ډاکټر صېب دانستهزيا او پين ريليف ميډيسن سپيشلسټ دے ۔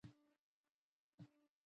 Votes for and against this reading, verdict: 0, 2, rejected